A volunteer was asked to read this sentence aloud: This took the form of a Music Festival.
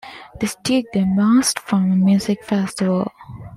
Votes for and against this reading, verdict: 0, 2, rejected